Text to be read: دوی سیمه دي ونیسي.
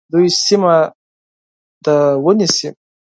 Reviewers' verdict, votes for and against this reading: rejected, 2, 4